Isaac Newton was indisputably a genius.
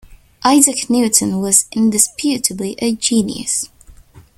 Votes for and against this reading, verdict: 2, 0, accepted